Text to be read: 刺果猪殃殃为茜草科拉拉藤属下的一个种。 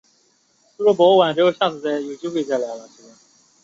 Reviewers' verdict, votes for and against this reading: rejected, 0, 2